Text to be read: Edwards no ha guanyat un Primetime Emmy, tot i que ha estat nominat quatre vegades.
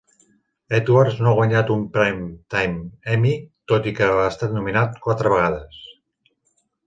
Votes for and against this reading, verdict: 3, 0, accepted